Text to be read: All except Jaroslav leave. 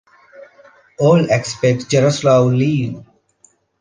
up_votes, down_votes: 0, 2